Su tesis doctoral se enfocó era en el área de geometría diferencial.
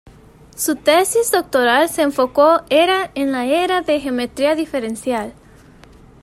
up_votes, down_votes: 1, 2